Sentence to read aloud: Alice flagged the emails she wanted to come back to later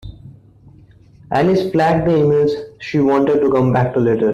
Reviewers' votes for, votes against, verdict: 2, 0, accepted